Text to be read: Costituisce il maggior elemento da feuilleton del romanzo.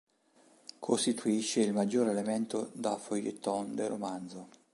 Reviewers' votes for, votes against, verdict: 0, 2, rejected